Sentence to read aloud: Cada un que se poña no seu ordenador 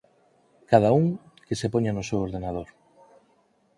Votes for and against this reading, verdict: 4, 0, accepted